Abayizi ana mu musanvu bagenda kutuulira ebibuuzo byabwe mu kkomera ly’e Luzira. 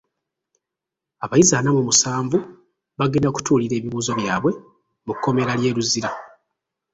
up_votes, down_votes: 1, 2